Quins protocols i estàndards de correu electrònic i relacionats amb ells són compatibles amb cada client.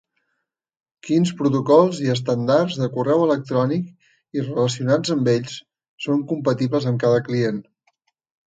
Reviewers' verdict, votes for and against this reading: rejected, 0, 2